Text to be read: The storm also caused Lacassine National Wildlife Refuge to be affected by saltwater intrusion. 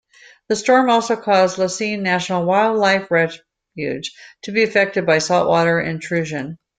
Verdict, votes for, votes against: rejected, 0, 2